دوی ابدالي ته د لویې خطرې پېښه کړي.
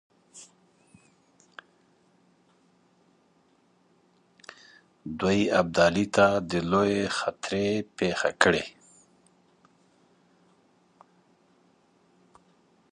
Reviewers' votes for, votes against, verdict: 2, 0, accepted